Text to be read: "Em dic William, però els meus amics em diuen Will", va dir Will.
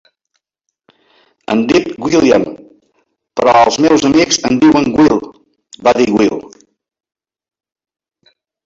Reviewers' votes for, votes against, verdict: 0, 2, rejected